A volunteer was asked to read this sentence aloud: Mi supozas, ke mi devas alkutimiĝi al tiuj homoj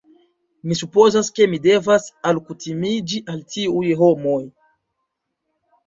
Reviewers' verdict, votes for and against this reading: accepted, 2, 0